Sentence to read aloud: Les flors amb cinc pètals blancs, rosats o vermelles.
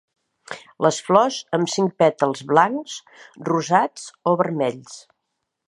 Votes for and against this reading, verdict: 1, 2, rejected